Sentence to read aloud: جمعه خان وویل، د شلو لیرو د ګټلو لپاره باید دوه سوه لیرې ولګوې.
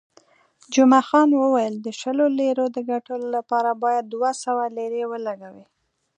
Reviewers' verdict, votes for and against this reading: accepted, 2, 0